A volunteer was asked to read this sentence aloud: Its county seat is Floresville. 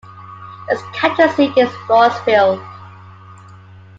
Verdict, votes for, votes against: accepted, 2, 1